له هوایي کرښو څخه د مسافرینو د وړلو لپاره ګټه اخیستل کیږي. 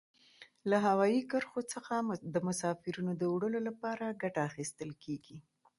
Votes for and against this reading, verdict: 2, 0, accepted